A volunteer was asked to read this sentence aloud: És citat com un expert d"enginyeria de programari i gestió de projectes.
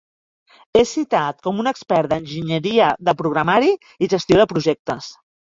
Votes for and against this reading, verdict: 2, 0, accepted